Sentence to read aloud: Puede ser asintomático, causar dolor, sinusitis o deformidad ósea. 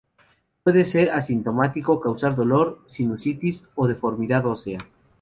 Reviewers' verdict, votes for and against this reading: accepted, 2, 0